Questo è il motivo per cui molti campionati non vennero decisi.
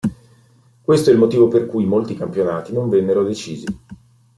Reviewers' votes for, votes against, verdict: 2, 0, accepted